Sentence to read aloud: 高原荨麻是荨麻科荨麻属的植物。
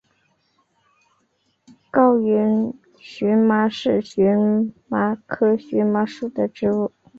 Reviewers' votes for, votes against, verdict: 2, 1, accepted